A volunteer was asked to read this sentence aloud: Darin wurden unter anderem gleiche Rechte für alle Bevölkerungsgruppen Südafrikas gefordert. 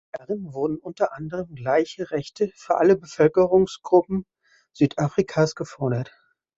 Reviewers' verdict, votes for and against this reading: rejected, 1, 2